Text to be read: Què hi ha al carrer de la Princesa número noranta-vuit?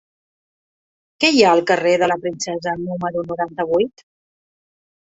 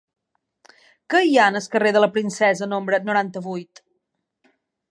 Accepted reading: first